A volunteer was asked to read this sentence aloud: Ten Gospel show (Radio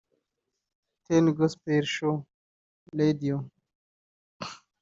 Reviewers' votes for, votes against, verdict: 1, 2, rejected